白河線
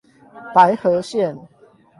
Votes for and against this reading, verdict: 8, 0, accepted